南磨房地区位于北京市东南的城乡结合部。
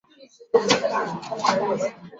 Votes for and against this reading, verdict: 0, 2, rejected